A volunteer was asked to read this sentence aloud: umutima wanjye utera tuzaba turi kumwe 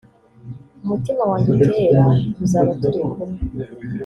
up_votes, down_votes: 1, 2